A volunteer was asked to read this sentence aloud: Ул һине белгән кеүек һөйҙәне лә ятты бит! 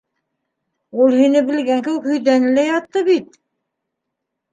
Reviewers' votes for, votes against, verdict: 2, 0, accepted